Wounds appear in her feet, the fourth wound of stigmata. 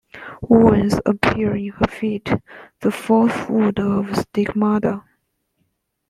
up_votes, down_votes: 1, 2